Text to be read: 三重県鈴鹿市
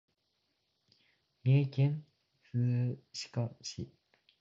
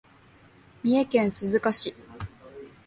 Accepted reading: second